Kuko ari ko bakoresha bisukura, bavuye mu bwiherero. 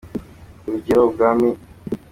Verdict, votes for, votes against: rejected, 0, 2